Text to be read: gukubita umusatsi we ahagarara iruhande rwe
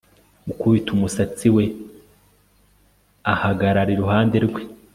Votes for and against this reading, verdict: 2, 0, accepted